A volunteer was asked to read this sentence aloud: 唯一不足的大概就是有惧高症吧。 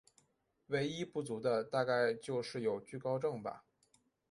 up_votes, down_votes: 4, 0